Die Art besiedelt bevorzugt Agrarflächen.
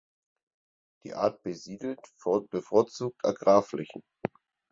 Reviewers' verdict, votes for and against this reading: rejected, 2, 6